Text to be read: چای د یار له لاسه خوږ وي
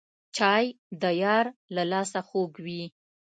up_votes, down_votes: 2, 0